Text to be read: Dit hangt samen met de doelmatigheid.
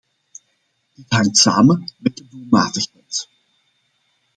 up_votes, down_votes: 0, 2